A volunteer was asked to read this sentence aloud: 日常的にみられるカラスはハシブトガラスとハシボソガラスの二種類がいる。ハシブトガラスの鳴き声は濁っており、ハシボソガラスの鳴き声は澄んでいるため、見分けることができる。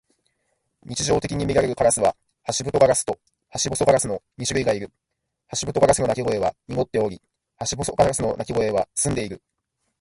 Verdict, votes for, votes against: rejected, 0, 2